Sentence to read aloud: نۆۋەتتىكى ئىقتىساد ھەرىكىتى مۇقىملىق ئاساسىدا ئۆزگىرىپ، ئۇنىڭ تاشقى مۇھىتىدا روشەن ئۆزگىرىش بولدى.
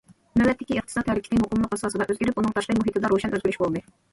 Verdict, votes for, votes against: rejected, 1, 2